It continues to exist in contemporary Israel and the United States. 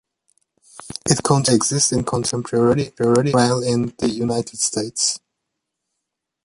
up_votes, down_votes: 0, 2